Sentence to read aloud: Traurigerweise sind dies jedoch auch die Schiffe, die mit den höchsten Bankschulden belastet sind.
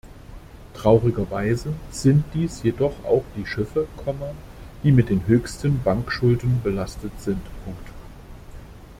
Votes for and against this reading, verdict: 0, 2, rejected